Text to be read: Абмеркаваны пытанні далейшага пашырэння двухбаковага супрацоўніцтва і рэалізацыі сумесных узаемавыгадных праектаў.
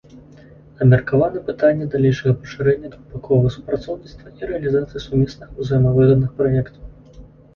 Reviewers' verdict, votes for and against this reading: accepted, 2, 0